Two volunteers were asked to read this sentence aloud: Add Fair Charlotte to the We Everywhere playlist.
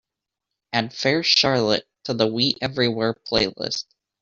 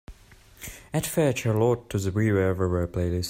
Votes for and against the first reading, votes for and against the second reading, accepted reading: 2, 1, 1, 2, first